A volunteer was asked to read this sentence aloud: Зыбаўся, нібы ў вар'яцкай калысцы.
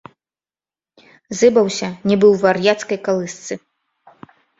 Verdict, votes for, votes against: accepted, 2, 0